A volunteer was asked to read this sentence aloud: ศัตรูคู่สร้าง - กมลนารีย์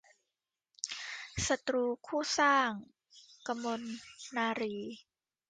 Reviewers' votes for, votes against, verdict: 2, 0, accepted